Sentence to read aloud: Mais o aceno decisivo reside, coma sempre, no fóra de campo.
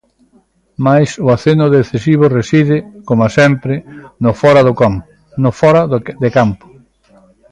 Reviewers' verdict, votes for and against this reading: rejected, 0, 2